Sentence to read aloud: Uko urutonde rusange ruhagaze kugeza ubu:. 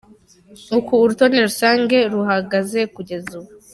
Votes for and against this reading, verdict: 3, 0, accepted